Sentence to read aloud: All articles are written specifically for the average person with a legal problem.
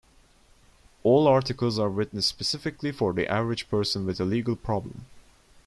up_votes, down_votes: 2, 0